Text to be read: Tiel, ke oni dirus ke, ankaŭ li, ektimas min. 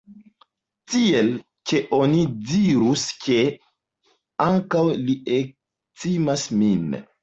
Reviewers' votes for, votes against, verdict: 2, 0, accepted